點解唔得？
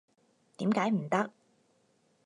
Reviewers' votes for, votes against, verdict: 4, 0, accepted